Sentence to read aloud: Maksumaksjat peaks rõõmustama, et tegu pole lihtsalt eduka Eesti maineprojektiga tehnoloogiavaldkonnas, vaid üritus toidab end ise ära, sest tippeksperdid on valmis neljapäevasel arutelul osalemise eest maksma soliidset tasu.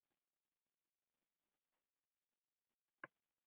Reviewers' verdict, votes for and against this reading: rejected, 0, 2